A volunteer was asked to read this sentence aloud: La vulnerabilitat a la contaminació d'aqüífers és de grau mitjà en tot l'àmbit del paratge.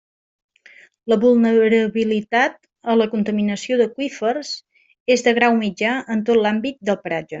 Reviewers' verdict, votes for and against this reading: rejected, 0, 2